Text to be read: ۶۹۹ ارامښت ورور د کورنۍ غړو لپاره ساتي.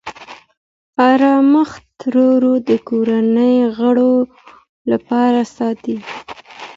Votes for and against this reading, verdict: 0, 2, rejected